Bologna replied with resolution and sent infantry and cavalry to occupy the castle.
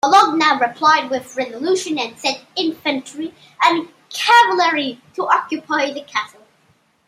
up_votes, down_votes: 2, 1